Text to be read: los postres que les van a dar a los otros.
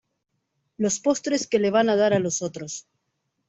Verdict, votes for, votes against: rejected, 1, 2